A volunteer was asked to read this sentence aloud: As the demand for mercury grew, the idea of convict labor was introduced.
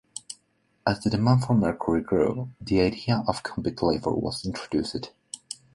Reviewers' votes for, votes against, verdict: 2, 0, accepted